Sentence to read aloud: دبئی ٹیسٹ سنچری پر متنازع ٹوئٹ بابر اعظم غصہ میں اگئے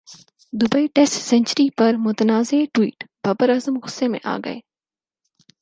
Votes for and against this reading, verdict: 4, 0, accepted